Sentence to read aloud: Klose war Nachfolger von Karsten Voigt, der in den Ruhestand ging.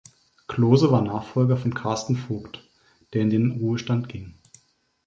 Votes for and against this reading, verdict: 3, 0, accepted